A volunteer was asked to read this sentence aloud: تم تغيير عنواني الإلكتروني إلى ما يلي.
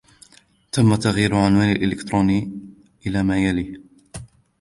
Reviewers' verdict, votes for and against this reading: accepted, 2, 0